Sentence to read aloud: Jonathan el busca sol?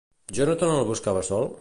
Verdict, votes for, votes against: rejected, 0, 2